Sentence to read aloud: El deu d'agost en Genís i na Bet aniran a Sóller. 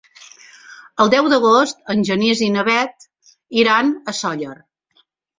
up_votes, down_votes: 1, 2